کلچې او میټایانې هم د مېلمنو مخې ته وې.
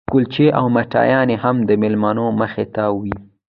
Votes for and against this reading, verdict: 0, 2, rejected